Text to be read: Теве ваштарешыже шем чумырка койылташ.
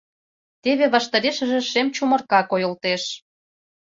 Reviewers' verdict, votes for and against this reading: rejected, 0, 2